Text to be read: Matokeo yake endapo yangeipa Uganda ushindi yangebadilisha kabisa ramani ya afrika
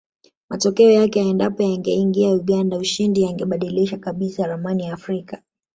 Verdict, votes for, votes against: rejected, 0, 2